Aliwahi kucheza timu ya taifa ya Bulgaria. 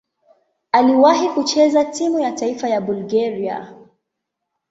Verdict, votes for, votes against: rejected, 1, 2